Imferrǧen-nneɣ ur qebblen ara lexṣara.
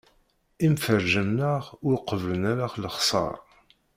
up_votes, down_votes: 1, 2